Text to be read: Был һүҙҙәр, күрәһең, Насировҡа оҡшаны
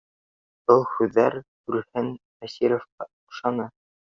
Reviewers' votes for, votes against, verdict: 1, 2, rejected